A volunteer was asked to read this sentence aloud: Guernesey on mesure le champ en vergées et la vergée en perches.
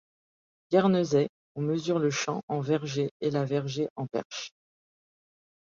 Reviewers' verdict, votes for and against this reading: accepted, 2, 0